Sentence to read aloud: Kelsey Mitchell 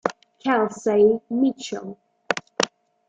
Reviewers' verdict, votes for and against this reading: accepted, 2, 1